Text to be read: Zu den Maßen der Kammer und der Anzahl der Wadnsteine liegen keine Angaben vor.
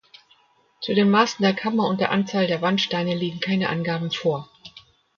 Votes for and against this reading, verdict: 1, 2, rejected